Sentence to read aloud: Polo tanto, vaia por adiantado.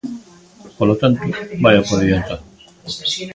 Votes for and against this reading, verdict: 0, 2, rejected